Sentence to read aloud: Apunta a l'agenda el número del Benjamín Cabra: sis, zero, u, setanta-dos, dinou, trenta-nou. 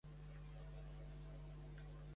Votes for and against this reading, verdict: 0, 2, rejected